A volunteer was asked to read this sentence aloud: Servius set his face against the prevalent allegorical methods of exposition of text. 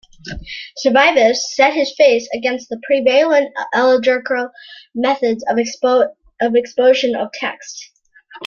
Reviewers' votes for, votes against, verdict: 0, 2, rejected